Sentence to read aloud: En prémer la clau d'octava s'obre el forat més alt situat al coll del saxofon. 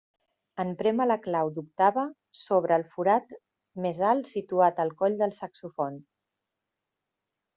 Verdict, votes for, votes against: accepted, 2, 1